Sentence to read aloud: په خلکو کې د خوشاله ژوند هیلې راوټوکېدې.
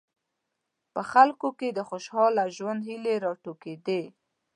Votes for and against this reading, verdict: 1, 2, rejected